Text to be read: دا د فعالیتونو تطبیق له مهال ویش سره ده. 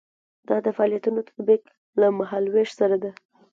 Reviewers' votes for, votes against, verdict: 2, 1, accepted